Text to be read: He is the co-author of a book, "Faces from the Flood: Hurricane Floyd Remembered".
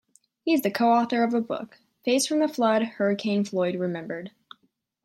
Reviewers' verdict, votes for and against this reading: rejected, 1, 2